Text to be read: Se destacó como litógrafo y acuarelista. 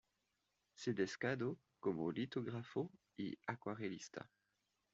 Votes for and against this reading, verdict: 1, 2, rejected